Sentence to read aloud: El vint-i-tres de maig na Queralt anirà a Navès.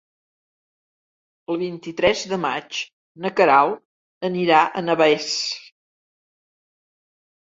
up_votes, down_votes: 2, 0